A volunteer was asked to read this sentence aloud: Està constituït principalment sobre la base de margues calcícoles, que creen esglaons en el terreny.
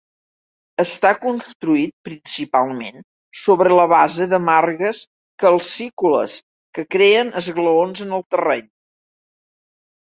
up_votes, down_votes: 0, 2